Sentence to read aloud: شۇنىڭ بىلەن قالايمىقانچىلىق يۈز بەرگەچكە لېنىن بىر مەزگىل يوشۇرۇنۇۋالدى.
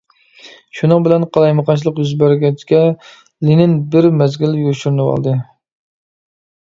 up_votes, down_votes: 2, 1